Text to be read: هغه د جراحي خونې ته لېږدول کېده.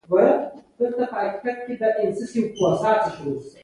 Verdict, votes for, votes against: accepted, 2, 1